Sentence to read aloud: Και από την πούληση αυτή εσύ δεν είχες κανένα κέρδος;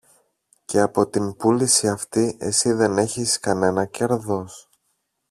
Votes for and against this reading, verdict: 0, 2, rejected